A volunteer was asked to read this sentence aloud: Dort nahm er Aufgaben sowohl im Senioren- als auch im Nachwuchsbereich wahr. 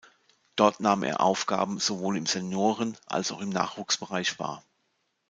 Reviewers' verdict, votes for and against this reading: accepted, 2, 0